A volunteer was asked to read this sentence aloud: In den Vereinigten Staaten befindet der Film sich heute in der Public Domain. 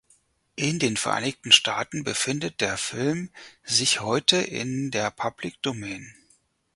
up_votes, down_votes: 4, 0